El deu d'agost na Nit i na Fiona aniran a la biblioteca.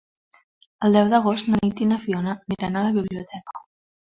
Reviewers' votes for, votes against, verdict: 2, 1, accepted